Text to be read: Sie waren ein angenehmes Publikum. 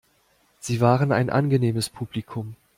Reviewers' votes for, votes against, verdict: 2, 0, accepted